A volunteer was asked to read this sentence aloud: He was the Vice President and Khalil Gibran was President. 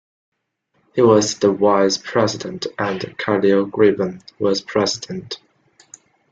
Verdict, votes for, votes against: rejected, 0, 2